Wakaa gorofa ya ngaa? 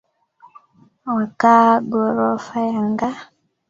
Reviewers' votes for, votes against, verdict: 0, 2, rejected